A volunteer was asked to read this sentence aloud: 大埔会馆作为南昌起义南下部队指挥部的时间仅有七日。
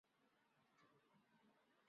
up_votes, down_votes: 6, 0